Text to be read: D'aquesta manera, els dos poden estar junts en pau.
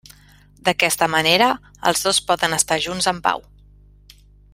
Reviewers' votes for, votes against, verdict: 3, 0, accepted